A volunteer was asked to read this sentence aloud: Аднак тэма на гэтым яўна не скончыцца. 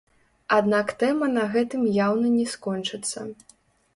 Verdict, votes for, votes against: rejected, 1, 2